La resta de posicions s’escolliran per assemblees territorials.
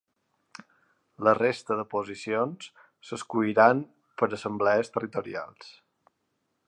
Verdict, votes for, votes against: accepted, 2, 0